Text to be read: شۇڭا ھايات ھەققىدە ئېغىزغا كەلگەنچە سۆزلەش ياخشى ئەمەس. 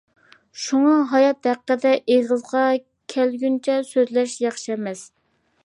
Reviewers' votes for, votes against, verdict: 2, 0, accepted